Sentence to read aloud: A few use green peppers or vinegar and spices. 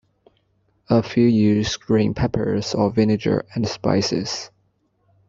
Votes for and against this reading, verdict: 1, 2, rejected